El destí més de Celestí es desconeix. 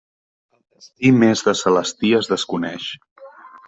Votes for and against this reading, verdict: 0, 2, rejected